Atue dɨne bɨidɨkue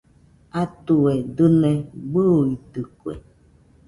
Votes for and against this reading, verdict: 2, 0, accepted